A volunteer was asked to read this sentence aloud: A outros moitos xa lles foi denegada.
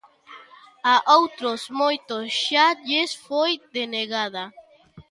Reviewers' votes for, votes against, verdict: 1, 2, rejected